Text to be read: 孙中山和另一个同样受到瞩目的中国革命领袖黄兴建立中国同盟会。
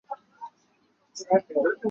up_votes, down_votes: 0, 2